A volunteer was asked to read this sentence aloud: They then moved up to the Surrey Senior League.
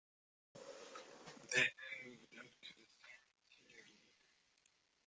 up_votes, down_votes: 0, 2